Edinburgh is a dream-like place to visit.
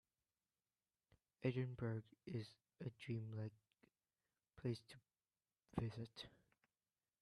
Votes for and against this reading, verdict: 1, 2, rejected